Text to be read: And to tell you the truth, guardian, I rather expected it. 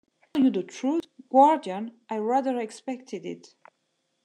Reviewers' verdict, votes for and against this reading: rejected, 1, 2